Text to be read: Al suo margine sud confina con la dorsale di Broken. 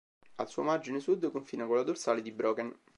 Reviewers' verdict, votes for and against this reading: accepted, 4, 0